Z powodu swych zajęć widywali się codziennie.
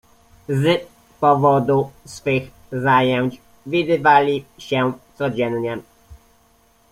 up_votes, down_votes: 1, 2